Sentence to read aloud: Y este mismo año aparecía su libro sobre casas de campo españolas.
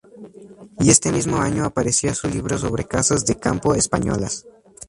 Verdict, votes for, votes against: accepted, 2, 0